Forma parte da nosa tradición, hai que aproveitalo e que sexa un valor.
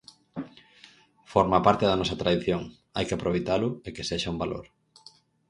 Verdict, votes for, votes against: accepted, 4, 0